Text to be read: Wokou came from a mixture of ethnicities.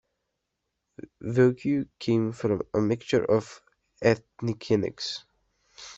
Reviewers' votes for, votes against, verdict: 2, 1, accepted